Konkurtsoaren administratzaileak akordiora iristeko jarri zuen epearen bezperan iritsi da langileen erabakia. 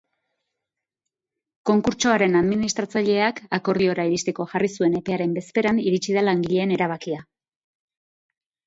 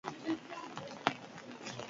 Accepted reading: first